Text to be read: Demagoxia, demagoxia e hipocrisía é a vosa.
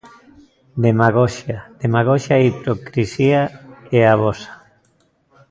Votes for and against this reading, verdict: 1, 2, rejected